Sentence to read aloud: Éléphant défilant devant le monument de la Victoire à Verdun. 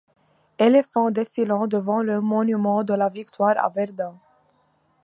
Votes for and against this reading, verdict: 2, 1, accepted